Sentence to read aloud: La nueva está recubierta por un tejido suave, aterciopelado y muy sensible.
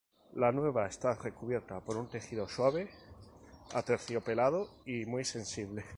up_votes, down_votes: 2, 0